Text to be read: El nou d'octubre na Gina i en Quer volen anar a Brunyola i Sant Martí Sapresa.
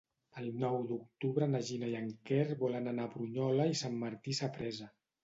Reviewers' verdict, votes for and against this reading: accepted, 3, 0